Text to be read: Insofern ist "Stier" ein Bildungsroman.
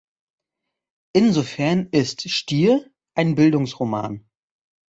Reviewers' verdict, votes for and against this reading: accepted, 2, 0